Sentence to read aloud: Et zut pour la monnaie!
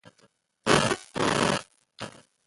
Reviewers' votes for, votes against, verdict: 1, 2, rejected